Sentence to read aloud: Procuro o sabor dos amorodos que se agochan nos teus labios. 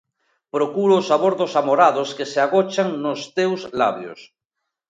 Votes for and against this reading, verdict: 0, 2, rejected